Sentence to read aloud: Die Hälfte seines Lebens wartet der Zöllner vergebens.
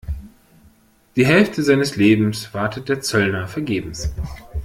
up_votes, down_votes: 2, 0